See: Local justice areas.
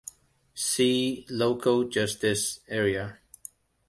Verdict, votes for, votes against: accepted, 2, 0